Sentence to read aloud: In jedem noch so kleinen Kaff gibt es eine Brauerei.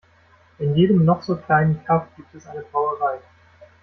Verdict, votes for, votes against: rejected, 0, 2